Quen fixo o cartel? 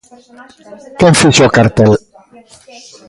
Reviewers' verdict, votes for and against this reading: accepted, 2, 1